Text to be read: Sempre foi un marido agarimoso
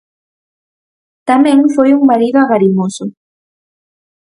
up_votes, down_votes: 0, 4